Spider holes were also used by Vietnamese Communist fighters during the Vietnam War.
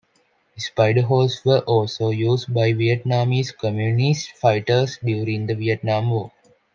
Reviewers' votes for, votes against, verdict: 2, 1, accepted